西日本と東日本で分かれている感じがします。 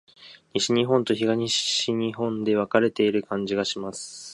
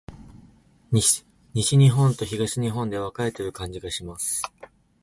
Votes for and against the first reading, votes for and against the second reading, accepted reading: 2, 0, 0, 2, first